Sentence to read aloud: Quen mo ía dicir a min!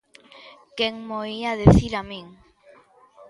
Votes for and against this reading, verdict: 0, 2, rejected